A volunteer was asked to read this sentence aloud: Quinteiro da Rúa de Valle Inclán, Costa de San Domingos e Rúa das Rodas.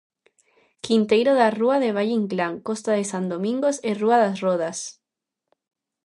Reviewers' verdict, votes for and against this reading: accepted, 2, 0